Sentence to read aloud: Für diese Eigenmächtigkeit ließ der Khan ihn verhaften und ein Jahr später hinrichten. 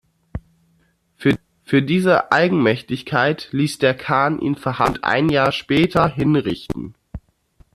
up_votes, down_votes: 0, 2